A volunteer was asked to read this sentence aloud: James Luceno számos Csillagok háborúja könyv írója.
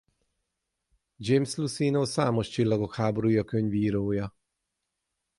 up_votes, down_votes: 6, 0